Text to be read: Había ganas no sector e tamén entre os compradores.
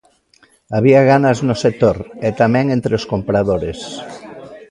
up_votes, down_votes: 1, 2